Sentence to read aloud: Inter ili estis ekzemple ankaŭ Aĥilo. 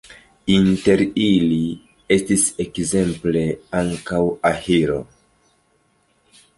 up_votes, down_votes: 0, 3